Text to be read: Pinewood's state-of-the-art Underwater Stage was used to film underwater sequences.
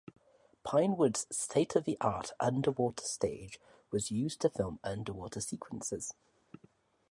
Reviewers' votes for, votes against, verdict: 2, 2, rejected